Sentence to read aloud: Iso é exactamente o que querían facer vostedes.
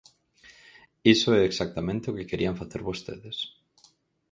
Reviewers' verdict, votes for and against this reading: accepted, 4, 0